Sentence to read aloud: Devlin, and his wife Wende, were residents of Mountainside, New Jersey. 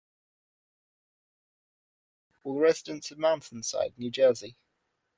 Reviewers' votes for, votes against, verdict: 0, 2, rejected